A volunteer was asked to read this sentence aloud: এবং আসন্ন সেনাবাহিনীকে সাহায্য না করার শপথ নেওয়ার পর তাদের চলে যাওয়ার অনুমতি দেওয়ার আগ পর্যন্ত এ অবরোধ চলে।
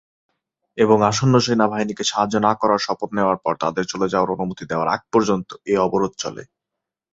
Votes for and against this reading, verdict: 2, 0, accepted